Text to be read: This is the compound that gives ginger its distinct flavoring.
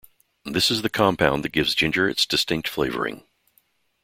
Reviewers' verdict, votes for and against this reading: accepted, 2, 0